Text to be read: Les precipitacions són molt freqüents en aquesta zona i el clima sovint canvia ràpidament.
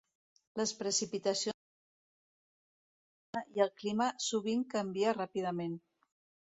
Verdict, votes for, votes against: rejected, 0, 2